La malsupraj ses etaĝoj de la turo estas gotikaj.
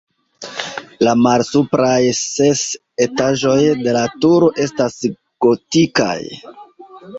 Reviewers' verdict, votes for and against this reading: rejected, 1, 2